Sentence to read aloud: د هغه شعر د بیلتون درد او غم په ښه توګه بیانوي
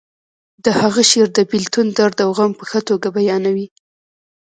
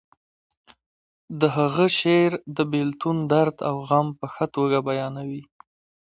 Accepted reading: second